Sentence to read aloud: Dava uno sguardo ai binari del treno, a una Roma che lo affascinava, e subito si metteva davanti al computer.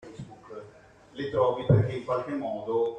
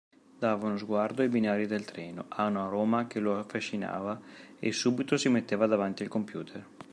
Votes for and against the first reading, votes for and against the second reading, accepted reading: 0, 2, 2, 1, second